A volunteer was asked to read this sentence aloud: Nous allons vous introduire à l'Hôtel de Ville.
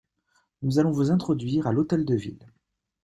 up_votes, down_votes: 2, 0